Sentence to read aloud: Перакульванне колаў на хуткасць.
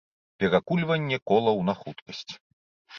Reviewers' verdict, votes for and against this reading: accepted, 2, 0